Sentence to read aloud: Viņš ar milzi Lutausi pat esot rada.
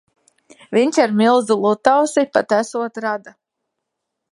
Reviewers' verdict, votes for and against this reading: accepted, 2, 0